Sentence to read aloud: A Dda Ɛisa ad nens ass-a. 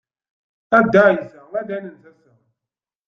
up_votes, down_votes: 1, 2